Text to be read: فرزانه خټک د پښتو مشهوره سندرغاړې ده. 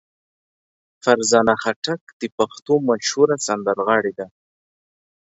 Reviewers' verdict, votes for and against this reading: accepted, 3, 0